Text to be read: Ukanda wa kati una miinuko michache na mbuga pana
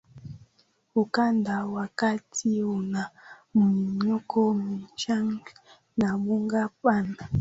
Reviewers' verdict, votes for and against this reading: accepted, 14, 7